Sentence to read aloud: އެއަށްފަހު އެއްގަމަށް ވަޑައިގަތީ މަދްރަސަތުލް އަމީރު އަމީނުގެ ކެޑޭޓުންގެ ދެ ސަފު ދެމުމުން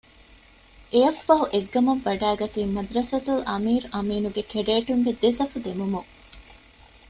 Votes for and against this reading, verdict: 2, 0, accepted